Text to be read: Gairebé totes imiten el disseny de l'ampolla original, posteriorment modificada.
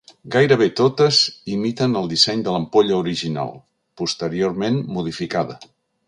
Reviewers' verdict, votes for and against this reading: accepted, 3, 0